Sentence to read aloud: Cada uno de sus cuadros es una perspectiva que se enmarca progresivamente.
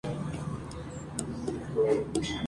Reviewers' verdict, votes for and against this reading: rejected, 0, 4